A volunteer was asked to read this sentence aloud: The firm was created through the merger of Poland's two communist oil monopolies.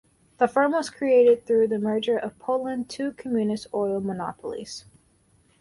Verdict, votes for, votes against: rejected, 2, 4